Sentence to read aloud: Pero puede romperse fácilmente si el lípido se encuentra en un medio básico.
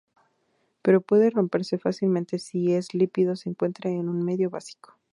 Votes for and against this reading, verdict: 2, 2, rejected